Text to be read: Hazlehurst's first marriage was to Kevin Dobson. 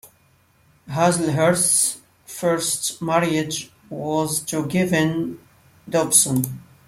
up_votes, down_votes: 2, 1